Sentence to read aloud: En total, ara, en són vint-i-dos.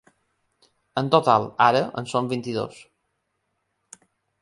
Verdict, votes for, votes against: accepted, 3, 0